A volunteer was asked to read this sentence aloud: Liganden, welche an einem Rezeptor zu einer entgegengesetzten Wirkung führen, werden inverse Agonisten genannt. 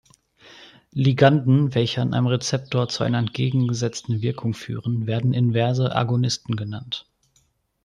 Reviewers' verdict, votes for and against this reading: accepted, 2, 0